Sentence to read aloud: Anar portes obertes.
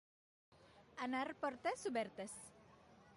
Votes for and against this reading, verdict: 2, 0, accepted